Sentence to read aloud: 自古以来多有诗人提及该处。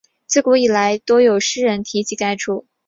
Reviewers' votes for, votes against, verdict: 7, 0, accepted